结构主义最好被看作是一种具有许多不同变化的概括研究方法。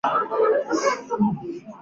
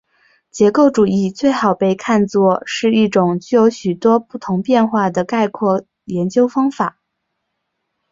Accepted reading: second